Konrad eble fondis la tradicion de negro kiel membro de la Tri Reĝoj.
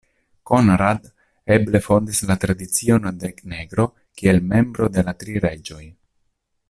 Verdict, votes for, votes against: rejected, 0, 2